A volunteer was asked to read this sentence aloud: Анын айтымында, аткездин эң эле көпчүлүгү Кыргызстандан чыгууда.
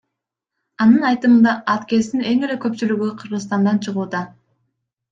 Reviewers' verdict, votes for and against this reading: rejected, 0, 2